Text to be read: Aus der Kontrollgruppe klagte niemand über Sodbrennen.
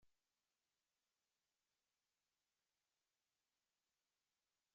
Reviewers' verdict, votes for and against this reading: rejected, 0, 2